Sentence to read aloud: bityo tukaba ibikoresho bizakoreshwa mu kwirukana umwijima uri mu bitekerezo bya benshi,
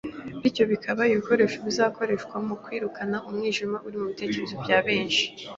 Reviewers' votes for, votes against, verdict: 1, 2, rejected